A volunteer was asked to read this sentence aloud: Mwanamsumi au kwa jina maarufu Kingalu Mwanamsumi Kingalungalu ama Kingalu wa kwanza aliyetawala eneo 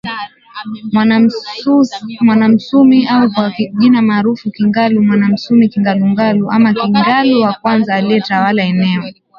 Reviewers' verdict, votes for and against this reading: rejected, 0, 2